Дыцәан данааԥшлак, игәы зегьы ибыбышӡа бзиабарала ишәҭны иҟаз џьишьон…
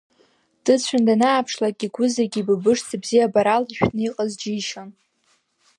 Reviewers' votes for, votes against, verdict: 2, 0, accepted